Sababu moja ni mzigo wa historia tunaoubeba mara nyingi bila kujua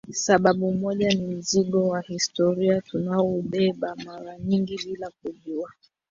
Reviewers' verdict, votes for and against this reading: rejected, 0, 2